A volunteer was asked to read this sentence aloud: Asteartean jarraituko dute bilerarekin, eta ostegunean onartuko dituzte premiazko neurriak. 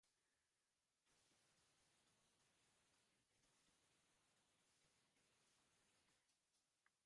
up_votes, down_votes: 0, 2